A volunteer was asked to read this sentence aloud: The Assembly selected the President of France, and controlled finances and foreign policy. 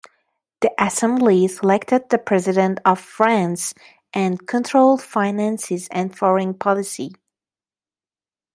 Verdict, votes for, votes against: accepted, 2, 1